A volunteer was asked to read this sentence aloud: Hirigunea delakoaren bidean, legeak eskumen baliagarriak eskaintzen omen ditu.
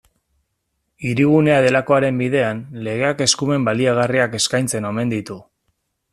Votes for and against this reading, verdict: 2, 0, accepted